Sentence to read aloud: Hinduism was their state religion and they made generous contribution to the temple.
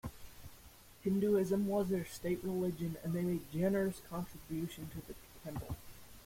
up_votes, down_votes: 0, 2